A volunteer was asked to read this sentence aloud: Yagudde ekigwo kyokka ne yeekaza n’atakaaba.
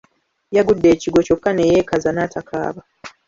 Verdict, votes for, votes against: accepted, 2, 0